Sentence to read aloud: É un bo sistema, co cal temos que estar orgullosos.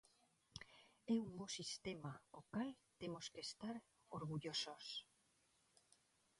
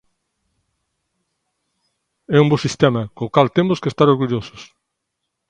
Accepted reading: second